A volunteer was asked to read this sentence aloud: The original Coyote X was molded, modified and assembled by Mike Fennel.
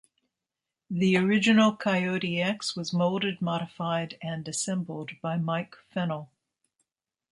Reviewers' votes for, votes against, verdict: 2, 0, accepted